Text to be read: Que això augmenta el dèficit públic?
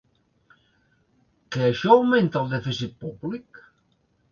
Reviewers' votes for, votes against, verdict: 3, 0, accepted